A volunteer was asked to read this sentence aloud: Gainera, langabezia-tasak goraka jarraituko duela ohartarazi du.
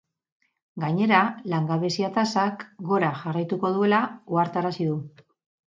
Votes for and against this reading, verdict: 0, 2, rejected